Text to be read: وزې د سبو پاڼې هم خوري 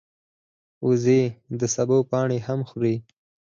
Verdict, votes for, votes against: rejected, 0, 4